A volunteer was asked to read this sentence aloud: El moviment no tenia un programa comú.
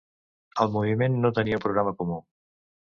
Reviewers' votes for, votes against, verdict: 0, 3, rejected